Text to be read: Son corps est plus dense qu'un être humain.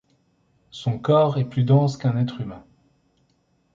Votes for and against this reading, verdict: 2, 0, accepted